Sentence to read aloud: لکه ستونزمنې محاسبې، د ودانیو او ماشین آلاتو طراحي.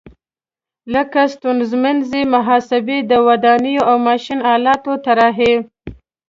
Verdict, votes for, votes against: accepted, 2, 0